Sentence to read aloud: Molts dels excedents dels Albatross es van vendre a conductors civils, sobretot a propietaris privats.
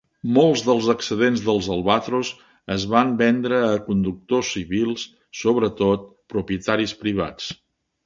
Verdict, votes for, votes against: rejected, 0, 2